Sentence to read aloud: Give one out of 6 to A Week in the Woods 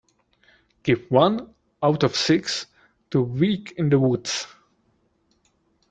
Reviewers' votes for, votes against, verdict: 0, 2, rejected